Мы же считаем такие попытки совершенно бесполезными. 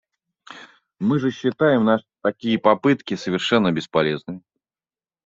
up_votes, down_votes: 0, 3